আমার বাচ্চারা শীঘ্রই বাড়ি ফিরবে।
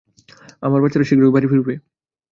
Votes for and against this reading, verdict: 2, 0, accepted